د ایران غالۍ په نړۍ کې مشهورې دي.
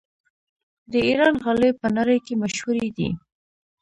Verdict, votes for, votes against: rejected, 1, 2